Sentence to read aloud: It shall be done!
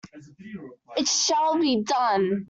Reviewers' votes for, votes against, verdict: 0, 2, rejected